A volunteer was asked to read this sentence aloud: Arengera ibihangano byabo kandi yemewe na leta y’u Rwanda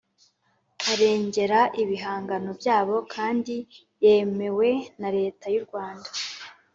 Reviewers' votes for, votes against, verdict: 4, 0, accepted